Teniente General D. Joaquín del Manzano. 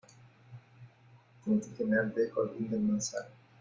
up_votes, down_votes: 1, 2